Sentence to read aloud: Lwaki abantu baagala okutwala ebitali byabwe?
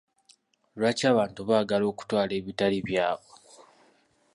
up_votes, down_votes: 2, 0